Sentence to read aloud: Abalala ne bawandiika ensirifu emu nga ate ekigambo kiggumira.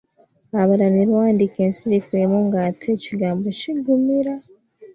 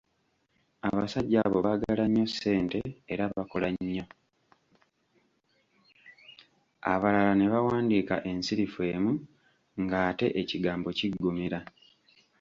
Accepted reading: first